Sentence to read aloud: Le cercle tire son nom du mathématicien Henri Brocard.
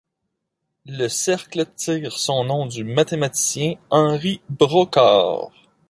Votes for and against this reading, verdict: 2, 0, accepted